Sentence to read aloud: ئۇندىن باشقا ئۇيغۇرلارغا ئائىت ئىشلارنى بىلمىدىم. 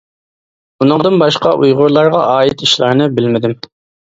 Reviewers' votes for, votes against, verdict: 1, 2, rejected